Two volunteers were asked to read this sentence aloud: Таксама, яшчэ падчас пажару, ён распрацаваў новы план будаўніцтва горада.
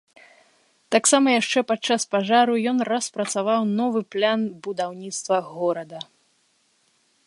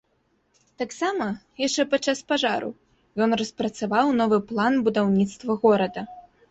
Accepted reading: second